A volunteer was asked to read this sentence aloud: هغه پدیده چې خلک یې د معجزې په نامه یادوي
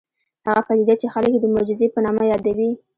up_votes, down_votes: 2, 0